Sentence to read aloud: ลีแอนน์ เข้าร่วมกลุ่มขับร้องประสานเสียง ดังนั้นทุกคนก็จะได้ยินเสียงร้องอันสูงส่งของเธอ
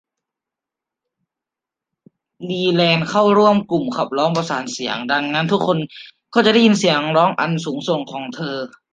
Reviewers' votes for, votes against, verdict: 0, 2, rejected